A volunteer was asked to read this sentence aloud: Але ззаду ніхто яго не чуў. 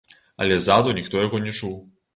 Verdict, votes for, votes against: rejected, 1, 2